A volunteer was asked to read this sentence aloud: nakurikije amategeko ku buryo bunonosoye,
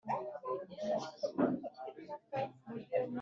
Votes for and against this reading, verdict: 0, 2, rejected